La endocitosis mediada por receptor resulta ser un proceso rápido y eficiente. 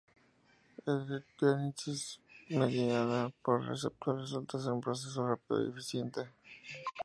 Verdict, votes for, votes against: accepted, 4, 0